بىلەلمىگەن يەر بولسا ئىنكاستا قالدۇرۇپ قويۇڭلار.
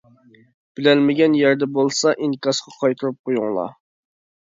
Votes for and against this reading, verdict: 0, 2, rejected